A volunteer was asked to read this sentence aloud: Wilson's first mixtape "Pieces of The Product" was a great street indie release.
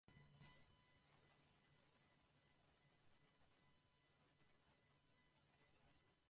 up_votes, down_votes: 0, 2